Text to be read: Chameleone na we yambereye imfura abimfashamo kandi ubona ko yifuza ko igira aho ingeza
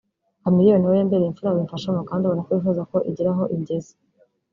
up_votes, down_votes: 1, 2